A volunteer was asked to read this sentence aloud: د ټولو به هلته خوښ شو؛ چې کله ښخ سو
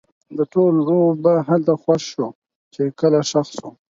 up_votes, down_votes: 4, 2